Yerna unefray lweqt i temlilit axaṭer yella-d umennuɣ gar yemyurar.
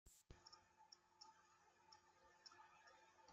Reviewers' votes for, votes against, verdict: 0, 2, rejected